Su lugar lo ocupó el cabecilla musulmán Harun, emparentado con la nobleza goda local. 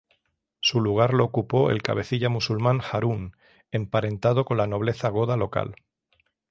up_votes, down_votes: 0, 3